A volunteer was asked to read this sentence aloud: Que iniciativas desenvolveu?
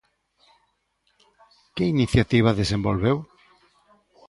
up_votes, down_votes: 0, 2